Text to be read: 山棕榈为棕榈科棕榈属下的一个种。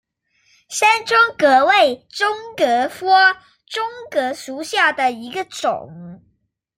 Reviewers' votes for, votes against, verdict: 0, 2, rejected